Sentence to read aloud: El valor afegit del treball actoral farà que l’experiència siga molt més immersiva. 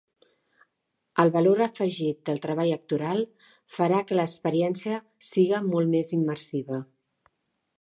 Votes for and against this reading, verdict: 2, 0, accepted